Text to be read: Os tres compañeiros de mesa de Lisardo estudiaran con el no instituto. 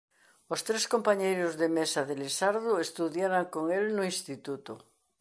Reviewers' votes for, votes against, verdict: 2, 0, accepted